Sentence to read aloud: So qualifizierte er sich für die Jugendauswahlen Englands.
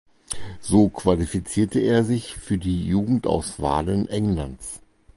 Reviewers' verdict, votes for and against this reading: accepted, 4, 0